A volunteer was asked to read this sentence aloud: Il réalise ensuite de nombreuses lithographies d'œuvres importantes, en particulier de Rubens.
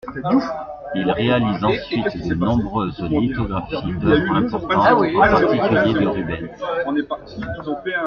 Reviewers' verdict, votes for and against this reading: rejected, 0, 2